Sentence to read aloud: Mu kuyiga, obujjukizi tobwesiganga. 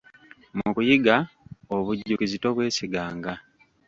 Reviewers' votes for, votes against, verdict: 1, 2, rejected